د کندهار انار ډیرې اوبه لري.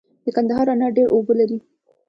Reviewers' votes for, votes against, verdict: 1, 2, rejected